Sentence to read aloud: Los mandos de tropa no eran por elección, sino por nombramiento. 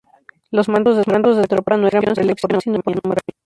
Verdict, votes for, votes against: rejected, 0, 2